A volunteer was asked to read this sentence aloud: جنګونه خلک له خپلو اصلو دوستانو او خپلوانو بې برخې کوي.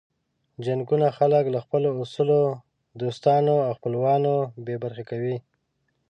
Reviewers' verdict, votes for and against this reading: rejected, 0, 2